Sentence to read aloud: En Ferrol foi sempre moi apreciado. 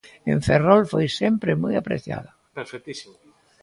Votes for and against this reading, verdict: 1, 2, rejected